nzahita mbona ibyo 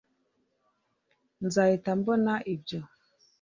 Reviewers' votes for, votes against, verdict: 2, 0, accepted